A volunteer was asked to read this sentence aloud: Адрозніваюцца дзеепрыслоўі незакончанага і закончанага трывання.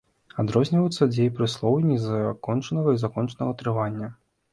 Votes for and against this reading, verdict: 2, 0, accepted